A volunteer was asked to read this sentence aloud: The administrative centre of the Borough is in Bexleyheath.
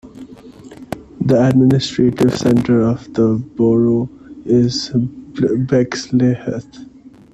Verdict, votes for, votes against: rejected, 1, 2